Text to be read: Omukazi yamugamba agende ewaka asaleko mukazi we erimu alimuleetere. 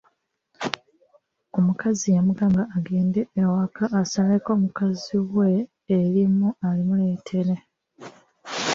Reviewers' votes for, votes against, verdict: 1, 2, rejected